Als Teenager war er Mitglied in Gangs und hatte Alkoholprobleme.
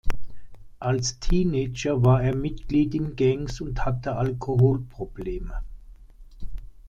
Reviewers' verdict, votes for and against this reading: accepted, 2, 0